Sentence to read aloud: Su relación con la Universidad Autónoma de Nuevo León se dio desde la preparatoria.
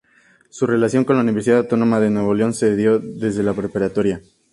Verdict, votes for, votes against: accepted, 2, 0